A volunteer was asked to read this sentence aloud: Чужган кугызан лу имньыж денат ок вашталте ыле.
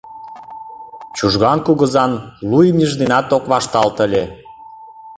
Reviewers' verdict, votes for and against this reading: rejected, 1, 2